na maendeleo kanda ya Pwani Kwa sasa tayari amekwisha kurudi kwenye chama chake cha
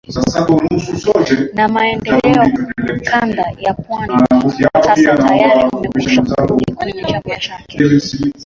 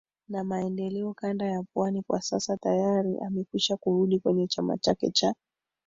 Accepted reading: second